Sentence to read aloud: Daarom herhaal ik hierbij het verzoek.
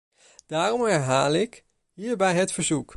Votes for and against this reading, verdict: 2, 0, accepted